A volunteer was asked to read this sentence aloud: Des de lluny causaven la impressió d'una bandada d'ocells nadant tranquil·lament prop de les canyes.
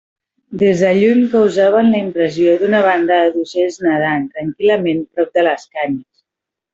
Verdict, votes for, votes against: accepted, 2, 0